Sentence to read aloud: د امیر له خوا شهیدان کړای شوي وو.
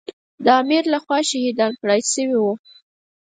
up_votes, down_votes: 4, 0